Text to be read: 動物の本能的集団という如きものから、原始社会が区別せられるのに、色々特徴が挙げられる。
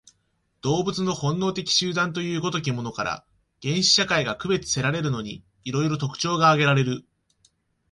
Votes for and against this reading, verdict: 2, 0, accepted